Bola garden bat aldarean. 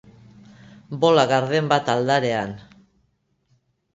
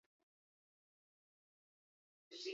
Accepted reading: first